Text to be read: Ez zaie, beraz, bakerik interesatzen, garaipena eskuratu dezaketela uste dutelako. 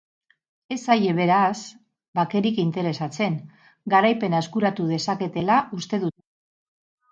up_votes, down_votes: 4, 6